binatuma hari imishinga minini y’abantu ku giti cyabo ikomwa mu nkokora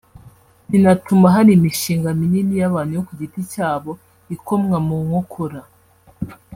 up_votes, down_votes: 1, 2